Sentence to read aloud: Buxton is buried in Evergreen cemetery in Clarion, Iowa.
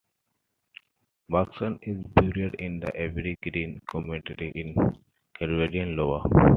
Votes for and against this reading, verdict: 0, 2, rejected